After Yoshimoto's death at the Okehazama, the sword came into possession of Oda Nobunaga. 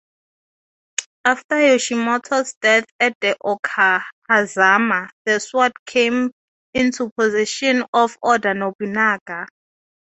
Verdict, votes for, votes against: accepted, 2, 0